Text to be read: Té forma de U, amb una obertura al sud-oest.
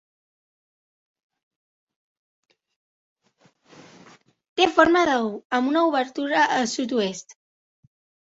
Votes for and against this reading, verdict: 1, 2, rejected